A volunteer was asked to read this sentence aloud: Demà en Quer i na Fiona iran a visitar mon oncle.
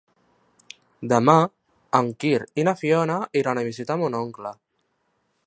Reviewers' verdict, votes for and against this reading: rejected, 0, 2